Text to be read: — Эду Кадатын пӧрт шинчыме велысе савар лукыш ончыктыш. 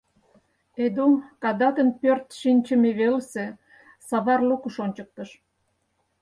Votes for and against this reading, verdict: 4, 0, accepted